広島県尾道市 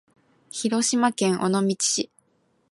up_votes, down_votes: 2, 0